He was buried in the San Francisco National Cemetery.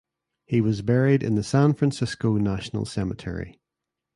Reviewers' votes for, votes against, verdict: 2, 0, accepted